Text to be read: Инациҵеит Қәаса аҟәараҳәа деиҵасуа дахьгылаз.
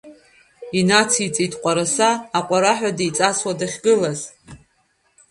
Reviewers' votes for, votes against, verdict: 1, 2, rejected